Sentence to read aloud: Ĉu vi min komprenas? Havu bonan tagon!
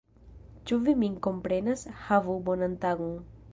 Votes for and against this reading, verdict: 2, 0, accepted